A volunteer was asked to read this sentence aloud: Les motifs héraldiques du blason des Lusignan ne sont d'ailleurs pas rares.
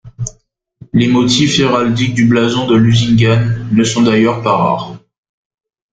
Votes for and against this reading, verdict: 0, 2, rejected